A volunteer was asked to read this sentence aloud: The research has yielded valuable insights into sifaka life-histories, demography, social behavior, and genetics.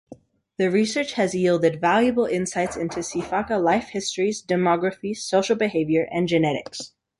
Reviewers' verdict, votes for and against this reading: accepted, 3, 0